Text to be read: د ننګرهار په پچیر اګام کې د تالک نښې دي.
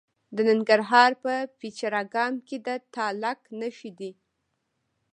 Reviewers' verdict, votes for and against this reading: rejected, 1, 2